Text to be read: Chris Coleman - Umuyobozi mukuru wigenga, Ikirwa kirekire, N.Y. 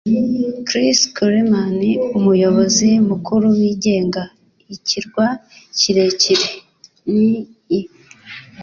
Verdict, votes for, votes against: accepted, 2, 0